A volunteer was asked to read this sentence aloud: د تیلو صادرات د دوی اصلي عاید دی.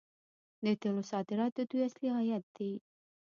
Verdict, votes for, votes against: rejected, 0, 2